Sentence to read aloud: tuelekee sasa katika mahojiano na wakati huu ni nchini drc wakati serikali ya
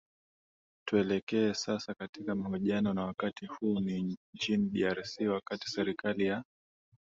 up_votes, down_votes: 5, 2